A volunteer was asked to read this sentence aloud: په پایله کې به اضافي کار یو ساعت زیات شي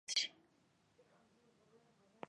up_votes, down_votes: 0, 2